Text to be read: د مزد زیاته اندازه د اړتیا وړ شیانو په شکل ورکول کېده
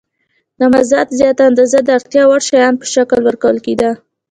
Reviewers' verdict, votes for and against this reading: accepted, 2, 0